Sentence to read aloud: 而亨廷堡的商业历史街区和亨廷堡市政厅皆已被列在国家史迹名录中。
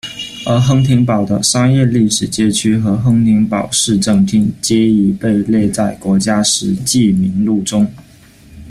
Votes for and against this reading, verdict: 2, 0, accepted